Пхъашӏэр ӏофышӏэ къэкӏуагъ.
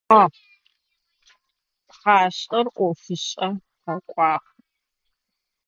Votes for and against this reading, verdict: 1, 2, rejected